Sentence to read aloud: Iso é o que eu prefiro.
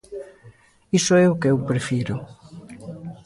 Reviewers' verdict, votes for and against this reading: accepted, 2, 0